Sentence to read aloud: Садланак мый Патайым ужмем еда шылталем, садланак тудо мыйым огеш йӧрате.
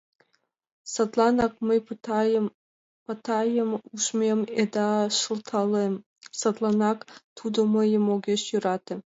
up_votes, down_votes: 0, 2